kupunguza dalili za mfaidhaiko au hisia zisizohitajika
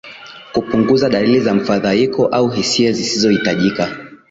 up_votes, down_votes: 2, 0